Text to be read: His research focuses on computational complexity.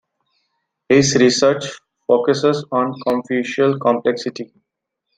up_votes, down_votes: 0, 2